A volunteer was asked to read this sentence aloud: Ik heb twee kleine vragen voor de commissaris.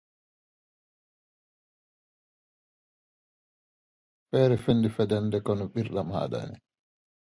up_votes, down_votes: 0, 2